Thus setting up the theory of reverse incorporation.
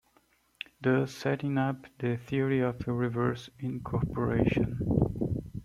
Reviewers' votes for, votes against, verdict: 1, 2, rejected